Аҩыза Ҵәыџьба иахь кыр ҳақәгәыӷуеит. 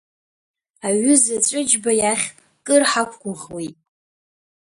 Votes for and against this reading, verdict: 2, 0, accepted